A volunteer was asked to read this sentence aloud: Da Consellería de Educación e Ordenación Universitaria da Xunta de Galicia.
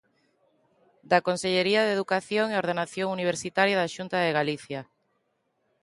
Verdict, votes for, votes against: accepted, 2, 0